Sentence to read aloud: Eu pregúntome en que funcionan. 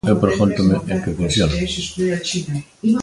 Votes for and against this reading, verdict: 1, 2, rejected